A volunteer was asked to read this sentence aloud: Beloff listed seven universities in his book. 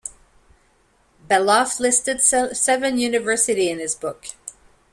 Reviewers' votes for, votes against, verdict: 0, 2, rejected